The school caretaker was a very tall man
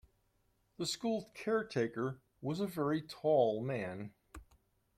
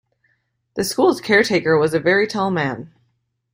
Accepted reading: first